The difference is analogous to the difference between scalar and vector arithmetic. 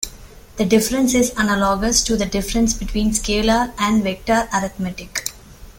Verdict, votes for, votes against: accepted, 2, 0